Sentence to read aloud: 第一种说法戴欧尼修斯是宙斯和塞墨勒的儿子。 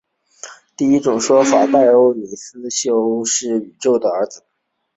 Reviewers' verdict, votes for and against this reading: rejected, 0, 2